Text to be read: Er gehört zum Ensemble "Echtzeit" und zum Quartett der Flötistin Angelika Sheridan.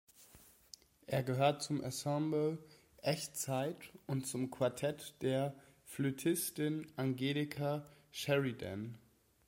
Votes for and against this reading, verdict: 3, 0, accepted